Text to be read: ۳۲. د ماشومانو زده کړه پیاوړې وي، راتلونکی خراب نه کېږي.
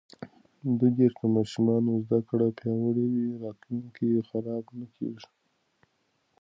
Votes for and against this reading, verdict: 0, 2, rejected